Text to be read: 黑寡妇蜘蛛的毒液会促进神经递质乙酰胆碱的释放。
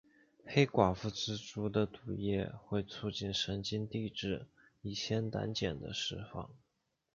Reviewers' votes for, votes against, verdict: 2, 0, accepted